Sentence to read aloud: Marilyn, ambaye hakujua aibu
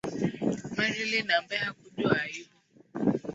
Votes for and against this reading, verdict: 1, 2, rejected